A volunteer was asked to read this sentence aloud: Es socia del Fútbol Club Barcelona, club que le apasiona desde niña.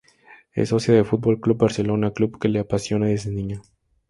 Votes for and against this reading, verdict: 0, 2, rejected